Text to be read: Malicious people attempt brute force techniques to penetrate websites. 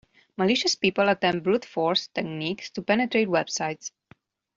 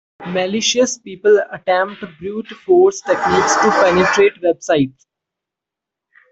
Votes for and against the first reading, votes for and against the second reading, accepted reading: 2, 0, 1, 2, first